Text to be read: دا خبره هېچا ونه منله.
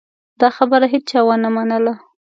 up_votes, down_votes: 2, 0